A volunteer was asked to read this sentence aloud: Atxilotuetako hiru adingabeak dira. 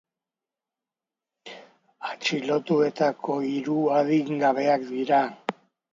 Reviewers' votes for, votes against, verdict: 2, 0, accepted